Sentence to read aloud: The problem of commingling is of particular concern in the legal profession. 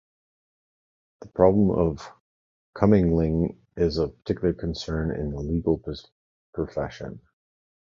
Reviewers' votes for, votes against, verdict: 0, 2, rejected